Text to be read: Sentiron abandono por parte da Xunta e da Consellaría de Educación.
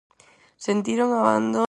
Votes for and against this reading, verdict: 0, 4, rejected